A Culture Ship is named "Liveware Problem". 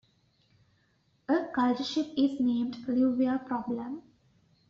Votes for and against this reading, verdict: 1, 2, rejected